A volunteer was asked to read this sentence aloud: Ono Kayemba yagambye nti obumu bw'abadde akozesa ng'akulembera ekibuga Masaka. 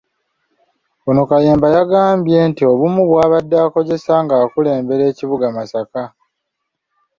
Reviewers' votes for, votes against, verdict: 2, 0, accepted